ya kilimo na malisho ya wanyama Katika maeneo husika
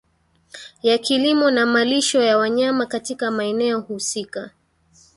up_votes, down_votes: 2, 0